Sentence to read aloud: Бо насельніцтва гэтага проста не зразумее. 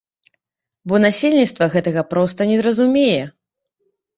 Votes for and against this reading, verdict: 2, 0, accepted